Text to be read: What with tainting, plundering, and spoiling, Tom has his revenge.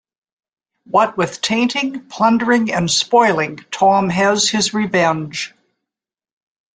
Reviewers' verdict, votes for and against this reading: accepted, 2, 0